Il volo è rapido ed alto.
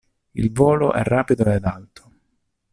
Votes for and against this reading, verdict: 2, 0, accepted